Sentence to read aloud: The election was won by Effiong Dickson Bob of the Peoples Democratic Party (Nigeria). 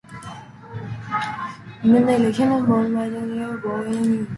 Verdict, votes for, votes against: rejected, 0, 2